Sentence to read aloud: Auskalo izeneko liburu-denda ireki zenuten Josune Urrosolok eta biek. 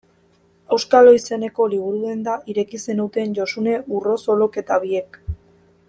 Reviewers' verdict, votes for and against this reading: accepted, 2, 0